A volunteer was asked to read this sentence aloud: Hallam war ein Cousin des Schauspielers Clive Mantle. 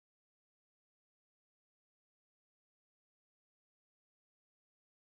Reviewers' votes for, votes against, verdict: 0, 2, rejected